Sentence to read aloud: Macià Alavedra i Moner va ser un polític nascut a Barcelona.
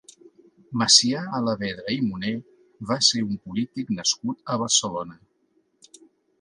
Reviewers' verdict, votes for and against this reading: accepted, 3, 0